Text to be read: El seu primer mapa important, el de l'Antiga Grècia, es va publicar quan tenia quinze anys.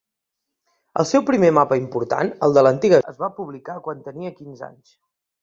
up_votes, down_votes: 0, 2